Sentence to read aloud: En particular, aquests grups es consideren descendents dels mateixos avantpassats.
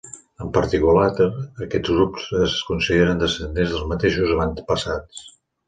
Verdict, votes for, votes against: rejected, 0, 2